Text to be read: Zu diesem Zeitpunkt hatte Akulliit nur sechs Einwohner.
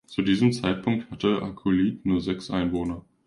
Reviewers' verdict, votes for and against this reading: accepted, 2, 0